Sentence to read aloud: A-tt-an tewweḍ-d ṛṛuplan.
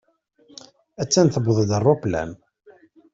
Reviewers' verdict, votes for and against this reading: accepted, 2, 0